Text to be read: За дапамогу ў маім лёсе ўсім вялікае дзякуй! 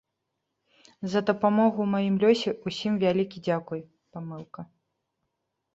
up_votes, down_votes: 0, 2